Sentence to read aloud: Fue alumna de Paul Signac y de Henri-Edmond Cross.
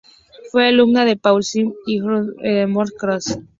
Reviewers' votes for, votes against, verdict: 0, 2, rejected